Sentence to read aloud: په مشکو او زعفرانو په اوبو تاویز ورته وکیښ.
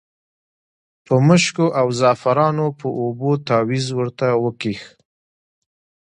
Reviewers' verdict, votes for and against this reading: rejected, 1, 2